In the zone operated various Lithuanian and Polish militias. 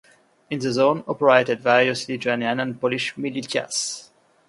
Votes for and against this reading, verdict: 0, 2, rejected